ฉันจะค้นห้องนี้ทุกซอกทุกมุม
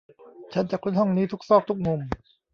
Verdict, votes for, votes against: rejected, 0, 2